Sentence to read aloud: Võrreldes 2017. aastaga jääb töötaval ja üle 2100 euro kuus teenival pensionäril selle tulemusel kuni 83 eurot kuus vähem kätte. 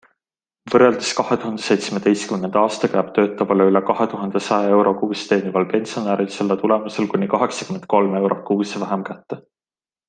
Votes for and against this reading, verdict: 0, 2, rejected